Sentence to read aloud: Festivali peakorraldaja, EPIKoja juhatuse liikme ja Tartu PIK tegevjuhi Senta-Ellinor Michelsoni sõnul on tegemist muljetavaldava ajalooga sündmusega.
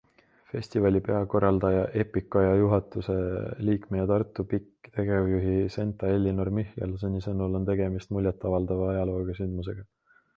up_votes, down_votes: 2, 0